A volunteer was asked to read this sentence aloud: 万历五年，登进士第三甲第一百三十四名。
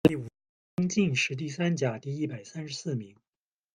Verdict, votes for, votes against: rejected, 1, 2